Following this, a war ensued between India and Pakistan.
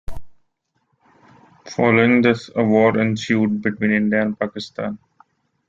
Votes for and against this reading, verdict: 2, 0, accepted